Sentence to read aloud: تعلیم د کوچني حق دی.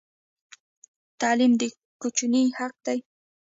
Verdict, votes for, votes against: rejected, 1, 2